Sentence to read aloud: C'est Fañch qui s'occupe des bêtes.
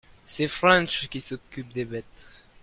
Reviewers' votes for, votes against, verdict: 0, 2, rejected